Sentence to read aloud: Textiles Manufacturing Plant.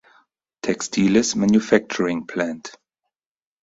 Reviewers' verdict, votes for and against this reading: rejected, 2, 4